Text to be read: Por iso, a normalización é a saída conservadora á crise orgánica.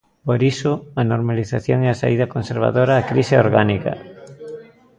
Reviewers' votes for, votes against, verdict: 2, 1, accepted